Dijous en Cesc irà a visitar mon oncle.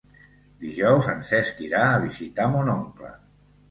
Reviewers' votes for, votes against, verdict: 2, 0, accepted